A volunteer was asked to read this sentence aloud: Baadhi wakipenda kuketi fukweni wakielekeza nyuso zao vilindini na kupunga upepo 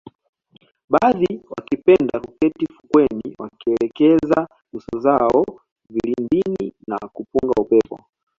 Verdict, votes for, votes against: accepted, 2, 0